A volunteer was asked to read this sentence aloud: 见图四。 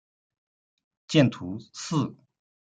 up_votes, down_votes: 2, 0